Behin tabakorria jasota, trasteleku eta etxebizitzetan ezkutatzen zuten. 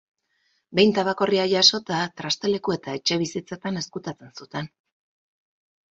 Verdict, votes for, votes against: accepted, 4, 0